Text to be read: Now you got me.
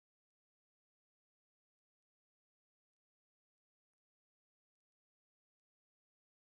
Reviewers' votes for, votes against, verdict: 0, 2, rejected